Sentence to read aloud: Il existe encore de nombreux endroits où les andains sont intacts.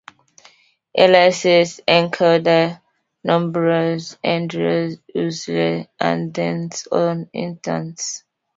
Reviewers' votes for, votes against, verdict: 0, 2, rejected